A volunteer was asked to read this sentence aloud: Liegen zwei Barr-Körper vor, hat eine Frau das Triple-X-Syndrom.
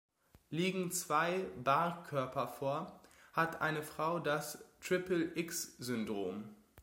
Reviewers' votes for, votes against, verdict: 3, 0, accepted